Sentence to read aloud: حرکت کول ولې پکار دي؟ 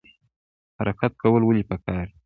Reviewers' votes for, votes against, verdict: 2, 1, accepted